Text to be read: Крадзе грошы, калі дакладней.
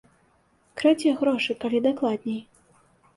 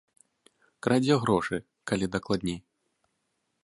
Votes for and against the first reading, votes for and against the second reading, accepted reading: 2, 0, 0, 2, first